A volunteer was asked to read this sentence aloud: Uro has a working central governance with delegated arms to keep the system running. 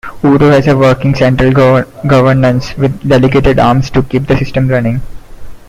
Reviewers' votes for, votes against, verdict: 0, 2, rejected